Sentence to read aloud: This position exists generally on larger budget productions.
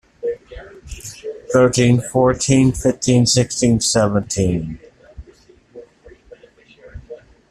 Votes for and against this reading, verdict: 0, 2, rejected